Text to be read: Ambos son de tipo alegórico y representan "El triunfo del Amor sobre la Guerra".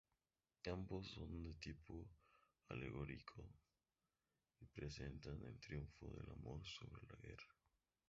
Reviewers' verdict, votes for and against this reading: rejected, 0, 4